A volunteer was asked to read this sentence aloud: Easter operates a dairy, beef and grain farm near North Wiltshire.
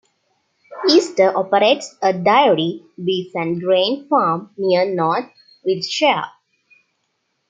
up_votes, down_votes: 1, 2